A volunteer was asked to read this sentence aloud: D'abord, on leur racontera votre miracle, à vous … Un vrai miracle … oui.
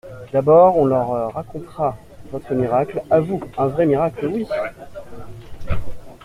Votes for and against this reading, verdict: 2, 0, accepted